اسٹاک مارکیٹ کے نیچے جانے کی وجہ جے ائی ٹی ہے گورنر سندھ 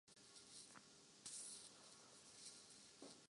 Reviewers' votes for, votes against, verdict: 0, 2, rejected